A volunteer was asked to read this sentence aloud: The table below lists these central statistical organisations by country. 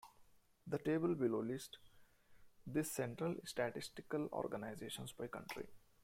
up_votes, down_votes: 1, 2